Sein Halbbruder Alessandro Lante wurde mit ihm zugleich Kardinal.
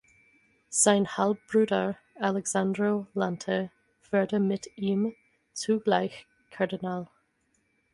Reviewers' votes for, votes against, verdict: 0, 4, rejected